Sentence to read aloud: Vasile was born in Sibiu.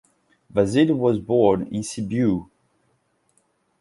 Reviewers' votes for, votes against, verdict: 2, 0, accepted